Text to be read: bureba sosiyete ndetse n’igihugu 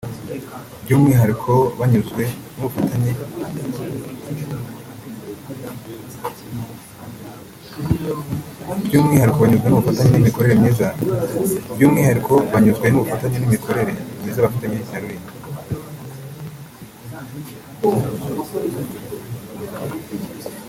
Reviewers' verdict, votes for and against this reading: rejected, 1, 2